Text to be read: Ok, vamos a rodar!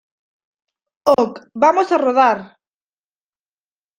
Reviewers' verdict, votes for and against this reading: rejected, 1, 2